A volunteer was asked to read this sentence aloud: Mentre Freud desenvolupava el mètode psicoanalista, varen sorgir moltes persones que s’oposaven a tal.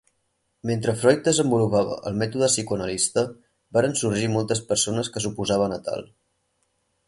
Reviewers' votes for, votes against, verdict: 6, 0, accepted